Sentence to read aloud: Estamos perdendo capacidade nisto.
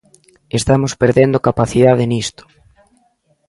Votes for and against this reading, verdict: 2, 0, accepted